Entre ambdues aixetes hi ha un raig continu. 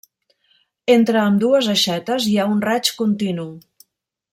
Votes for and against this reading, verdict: 2, 0, accepted